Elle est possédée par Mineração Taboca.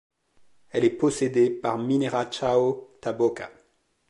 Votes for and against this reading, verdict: 2, 0, accepted